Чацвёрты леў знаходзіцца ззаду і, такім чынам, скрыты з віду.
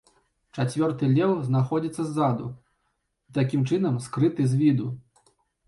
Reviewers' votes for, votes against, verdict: 1, 2, rejected